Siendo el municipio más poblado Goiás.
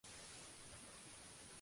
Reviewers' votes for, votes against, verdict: 2, 0, accepted